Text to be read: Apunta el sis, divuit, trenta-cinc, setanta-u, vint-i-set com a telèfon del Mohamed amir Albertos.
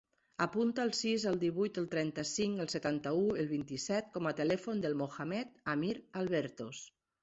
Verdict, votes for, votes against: rejected, 1, 2